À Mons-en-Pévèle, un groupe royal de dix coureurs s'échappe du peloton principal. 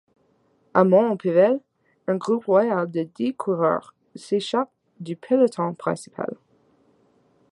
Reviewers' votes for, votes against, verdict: 0, 2, rejected